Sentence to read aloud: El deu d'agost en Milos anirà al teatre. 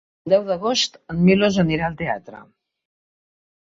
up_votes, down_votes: 0, 4